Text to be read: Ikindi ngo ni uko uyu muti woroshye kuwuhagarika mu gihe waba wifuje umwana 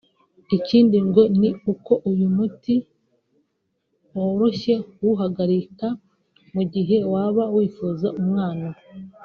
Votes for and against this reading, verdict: 0, 2, rejected